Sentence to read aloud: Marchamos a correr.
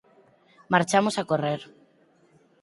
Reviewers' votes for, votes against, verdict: 6, 0, accepted